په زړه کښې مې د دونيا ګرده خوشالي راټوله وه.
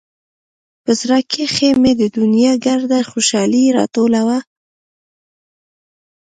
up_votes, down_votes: 2, 0